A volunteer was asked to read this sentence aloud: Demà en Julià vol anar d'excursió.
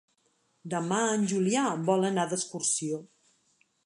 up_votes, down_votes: 3, 0